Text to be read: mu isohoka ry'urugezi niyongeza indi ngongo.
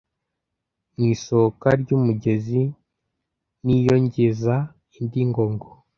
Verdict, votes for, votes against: rejected, 0, 2